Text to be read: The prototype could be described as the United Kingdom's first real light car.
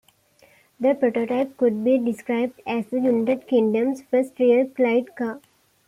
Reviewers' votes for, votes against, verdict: 2, 1, accepted